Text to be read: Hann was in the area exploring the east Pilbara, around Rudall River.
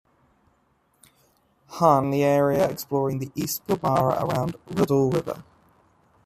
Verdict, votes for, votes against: rejected, 0, 2